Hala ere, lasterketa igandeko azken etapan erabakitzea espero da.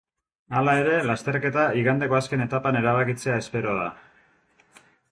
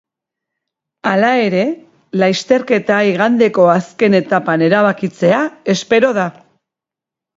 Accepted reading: first